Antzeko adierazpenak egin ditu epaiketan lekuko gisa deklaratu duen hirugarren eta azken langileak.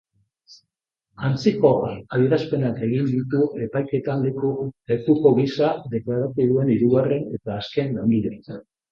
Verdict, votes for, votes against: rejected, 0, 3